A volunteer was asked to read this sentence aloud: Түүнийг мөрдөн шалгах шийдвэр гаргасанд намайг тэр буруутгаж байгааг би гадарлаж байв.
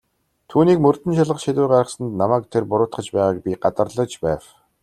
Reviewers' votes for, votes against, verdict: 2, 0, accepted